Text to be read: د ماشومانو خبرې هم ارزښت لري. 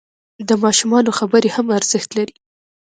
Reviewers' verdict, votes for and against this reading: rejected, 0, 2